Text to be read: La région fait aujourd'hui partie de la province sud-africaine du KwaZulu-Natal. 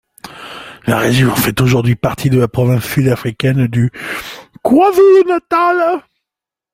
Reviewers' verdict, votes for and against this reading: rejected, 1, 2